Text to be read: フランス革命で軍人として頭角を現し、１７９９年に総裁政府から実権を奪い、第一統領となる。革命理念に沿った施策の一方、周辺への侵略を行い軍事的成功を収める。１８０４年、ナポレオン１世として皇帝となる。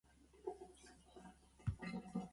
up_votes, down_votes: 0, 2